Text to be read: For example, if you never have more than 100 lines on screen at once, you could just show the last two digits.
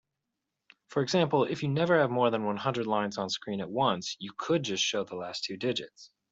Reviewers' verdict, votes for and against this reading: rejected, 0, 2